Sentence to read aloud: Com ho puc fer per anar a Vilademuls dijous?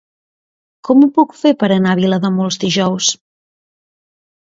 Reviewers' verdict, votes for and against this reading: accepted, 2, 0